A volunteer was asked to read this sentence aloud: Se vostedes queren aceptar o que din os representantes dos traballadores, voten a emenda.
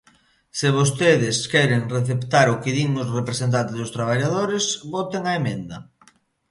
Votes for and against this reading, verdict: 0, 2, rejected